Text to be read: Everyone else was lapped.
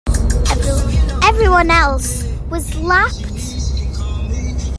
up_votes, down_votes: 0, 2